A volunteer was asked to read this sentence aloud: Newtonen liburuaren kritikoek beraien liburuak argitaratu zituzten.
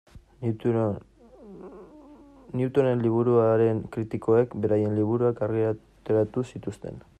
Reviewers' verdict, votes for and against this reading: rejected, 0, 2